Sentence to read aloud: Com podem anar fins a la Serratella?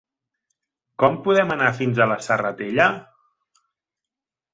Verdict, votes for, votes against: accepted, 3, 0